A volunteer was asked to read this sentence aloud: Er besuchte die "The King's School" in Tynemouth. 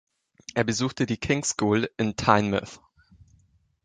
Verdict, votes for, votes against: rejected, 1, 2